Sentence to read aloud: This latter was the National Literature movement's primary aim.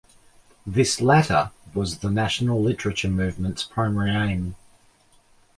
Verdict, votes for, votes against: accepted, 2, 0